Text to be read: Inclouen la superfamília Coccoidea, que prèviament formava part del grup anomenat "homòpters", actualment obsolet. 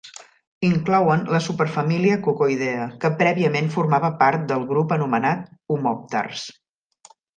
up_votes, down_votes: 0, 2